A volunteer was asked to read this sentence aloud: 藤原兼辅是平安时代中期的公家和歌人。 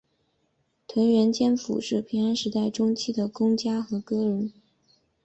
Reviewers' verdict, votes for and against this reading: rejected, 1, 2